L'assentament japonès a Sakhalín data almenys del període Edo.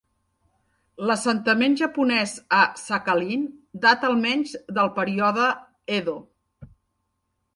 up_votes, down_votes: 2, 0